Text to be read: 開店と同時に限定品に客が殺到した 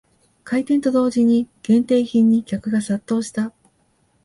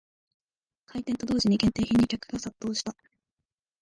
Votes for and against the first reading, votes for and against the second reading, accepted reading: 2, 0, 0, 2, first